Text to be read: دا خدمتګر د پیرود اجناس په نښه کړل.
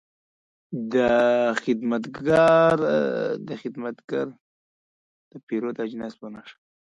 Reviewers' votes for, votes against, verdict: 0, 2, rejected